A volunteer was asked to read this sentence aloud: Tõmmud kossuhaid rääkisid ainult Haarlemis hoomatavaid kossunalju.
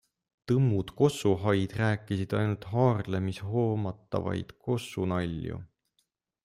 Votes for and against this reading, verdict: 2, 0, accepted